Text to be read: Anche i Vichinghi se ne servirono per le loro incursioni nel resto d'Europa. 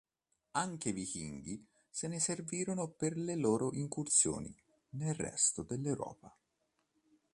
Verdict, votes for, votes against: rejected, 1, 2